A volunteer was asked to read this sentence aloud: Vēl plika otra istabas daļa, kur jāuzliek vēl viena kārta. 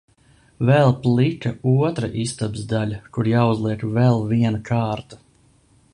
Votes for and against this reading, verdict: 0, 2, rejected